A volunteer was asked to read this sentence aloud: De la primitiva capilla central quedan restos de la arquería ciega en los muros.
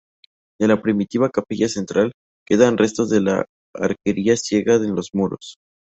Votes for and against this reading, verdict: 4, 2, accepted